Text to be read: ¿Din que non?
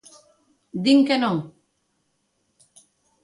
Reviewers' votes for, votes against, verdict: 2, 0, accepted